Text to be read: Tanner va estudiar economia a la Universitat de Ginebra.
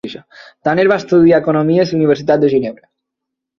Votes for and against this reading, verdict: 0, 4, rejected